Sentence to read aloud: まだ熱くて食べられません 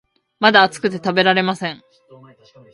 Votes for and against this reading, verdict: 1, 2, rejected